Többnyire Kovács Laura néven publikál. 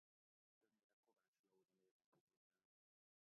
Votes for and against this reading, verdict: 0, 2, rejected